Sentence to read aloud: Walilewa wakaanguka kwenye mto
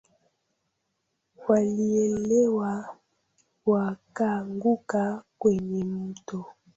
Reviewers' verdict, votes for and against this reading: rejected, 0, 2